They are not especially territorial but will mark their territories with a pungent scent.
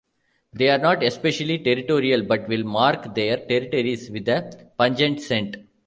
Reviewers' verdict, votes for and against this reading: accepted, 2, 1